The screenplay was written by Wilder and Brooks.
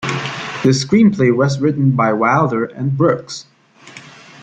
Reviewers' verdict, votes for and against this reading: accepted, 2, 0